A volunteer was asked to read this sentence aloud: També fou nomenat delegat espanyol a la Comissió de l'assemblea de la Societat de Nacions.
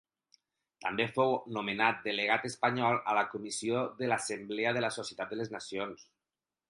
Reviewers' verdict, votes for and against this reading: rejected, 2, 4